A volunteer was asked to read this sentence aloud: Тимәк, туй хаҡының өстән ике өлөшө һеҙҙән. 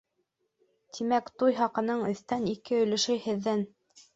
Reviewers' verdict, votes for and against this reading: rejected, 1, 2